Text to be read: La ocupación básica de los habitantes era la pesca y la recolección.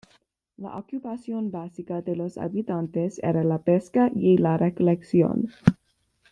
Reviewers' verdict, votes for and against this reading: accepted, 2, 0